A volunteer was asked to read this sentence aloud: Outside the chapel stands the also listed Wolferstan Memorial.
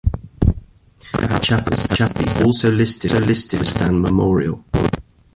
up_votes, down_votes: 0, 2